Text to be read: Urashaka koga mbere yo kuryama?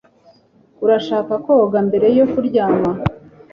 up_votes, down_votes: 3, 0